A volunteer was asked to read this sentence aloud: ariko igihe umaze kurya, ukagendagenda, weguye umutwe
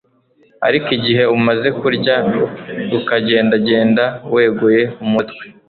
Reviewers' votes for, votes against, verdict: 2, 0, accepted